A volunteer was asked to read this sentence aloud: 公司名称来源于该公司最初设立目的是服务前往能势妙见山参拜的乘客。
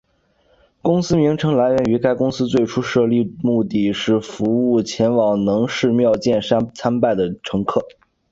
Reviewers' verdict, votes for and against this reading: accepted, 4, 0